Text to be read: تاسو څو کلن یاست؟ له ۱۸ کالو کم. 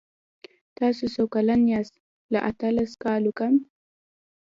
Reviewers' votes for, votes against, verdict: 0, 2, rejected